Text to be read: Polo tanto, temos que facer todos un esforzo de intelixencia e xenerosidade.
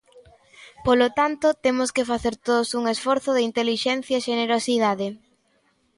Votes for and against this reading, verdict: 2, 0, accepted